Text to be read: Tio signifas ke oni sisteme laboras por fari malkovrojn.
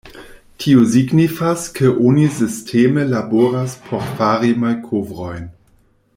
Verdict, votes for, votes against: rejected, 1, 2